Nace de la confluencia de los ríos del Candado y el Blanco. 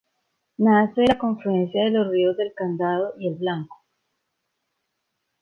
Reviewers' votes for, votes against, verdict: 1, 2, rejected